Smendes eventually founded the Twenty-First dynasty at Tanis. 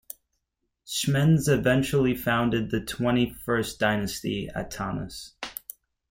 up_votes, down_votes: 2, 1